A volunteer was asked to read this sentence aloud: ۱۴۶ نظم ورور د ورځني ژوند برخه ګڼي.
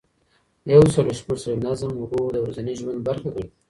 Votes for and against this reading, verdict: 0, 2, rejected